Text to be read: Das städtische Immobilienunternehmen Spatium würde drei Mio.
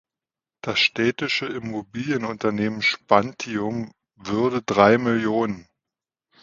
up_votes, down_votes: 1, 2